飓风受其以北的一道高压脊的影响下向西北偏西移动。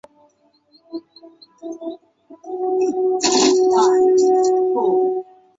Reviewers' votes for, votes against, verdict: 1, 3, rejected